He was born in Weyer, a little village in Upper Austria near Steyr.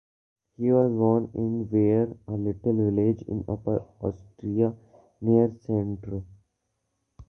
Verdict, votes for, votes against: rejected, 0, 2